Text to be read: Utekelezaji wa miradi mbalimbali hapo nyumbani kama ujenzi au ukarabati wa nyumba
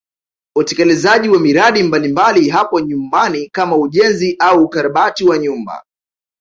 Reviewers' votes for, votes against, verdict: 0, 2, rejected